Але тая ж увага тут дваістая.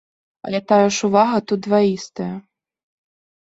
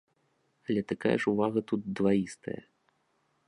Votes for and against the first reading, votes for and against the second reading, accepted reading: 2, 0, 0, 2, first